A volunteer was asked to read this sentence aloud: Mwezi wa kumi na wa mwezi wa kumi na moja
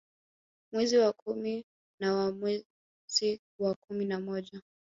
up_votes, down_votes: 1, 2